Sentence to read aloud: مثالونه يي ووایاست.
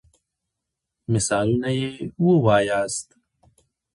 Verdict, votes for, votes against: rejected, 1, 2